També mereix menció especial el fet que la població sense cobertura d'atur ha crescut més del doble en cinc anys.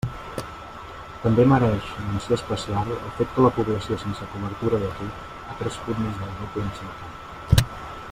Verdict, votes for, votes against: rejected, 0, 2